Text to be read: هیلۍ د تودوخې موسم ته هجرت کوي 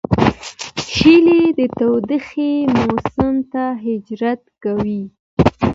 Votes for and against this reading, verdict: 1, 2, rejected